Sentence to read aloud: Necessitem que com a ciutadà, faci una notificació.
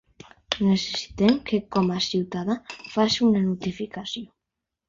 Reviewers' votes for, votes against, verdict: 3, 0, accepted